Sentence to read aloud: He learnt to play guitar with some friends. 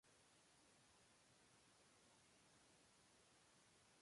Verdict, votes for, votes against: rejected, 0, 2